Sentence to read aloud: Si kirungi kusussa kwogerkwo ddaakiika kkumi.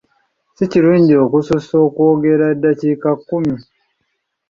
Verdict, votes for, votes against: rejected, 0, 2